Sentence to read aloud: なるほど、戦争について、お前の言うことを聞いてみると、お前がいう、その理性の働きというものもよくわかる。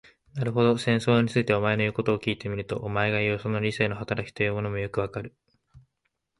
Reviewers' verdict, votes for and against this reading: accepted, 2, 0